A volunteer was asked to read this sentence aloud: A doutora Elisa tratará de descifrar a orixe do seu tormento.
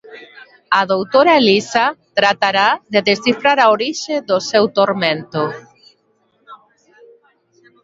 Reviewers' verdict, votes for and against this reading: rejected, 1, 2